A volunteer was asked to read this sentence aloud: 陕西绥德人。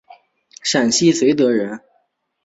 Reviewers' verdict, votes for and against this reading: accepted, 4, 1